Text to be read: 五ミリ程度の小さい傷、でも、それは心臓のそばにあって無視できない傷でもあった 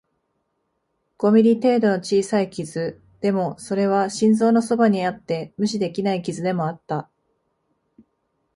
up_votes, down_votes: 2, 0